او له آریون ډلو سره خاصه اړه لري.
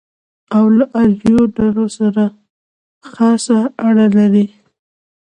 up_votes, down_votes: 2, 0